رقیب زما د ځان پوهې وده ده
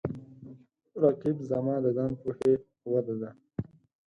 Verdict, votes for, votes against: rejected, 2, 4